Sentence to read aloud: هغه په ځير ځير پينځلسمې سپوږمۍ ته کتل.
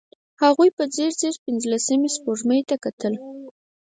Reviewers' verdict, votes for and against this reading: accepted, 4, 0